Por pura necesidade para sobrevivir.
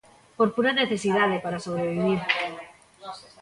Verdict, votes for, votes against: rejected, 0, 2